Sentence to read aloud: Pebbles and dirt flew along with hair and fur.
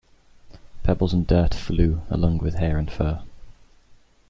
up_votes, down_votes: 2, 0